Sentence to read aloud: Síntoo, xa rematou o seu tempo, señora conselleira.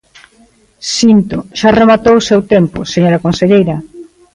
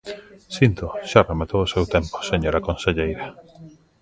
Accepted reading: first